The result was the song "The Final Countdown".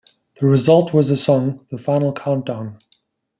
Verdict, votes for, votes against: accepted, 2, 0